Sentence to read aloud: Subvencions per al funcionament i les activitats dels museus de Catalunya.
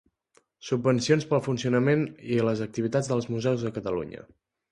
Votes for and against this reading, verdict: 2, 1, accepted